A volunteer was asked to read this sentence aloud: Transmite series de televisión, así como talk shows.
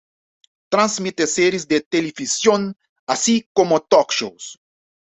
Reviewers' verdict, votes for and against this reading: accepted, 2, 0